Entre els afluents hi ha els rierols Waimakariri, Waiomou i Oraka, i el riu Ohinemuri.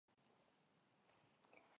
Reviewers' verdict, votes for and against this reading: rejected, 0, 2